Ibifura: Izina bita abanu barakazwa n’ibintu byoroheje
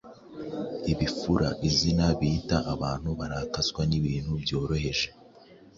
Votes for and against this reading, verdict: 3, 0, accepted